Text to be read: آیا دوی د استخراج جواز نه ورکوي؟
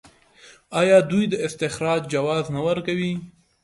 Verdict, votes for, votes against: rejected, 1, 2